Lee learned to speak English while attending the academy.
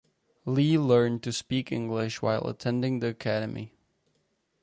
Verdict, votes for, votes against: accepted, 4, 0